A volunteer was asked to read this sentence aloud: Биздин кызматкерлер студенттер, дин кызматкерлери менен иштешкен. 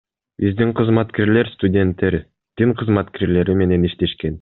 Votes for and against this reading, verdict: 2, 1, accepted